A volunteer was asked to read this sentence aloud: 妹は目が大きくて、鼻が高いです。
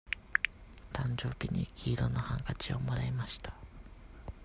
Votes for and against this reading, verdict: 0, 2, rejected